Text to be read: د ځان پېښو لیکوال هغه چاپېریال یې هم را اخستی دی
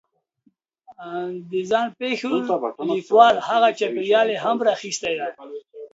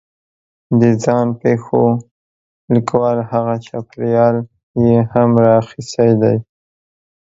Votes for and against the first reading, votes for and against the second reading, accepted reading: 0, 2, 2, 0, second